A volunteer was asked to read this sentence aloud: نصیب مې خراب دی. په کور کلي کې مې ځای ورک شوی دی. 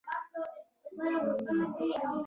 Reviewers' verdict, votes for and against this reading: rejected, 0, 2